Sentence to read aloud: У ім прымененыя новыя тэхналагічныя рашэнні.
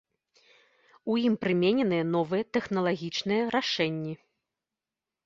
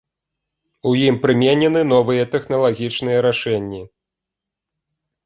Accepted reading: first